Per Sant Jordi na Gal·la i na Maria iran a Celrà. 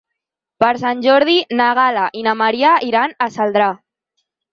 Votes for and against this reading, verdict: 2, 4, rejected